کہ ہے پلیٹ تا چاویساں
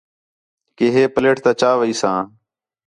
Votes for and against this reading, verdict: 4, 0, accepted